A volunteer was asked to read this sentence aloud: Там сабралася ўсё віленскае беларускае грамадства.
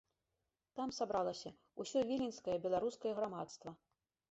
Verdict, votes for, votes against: accepted, 2, 0